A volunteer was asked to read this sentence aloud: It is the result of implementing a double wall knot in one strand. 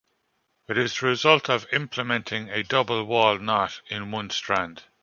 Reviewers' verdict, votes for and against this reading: rejected, 1, 2